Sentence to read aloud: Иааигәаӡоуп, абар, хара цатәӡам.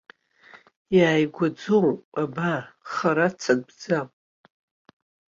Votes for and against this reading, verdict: 2, 0, accepted